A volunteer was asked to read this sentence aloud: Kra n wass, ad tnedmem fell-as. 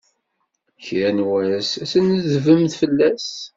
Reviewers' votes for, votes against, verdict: 0, 2, rejected